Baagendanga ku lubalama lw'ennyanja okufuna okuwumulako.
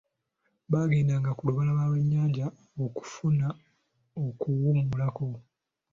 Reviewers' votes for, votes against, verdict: 2, 0, accepted